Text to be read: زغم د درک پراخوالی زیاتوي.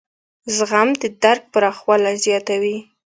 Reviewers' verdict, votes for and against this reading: accepted, 2, 0